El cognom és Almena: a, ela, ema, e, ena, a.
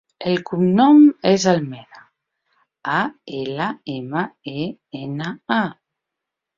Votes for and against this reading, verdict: 2, 0, accepted